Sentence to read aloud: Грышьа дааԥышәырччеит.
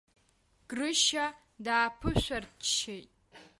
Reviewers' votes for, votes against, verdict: 1, 2, rejected